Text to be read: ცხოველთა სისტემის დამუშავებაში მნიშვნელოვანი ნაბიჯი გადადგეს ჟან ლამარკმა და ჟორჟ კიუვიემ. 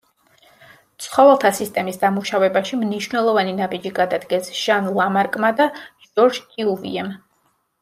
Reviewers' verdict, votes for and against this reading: accepted, 2, 1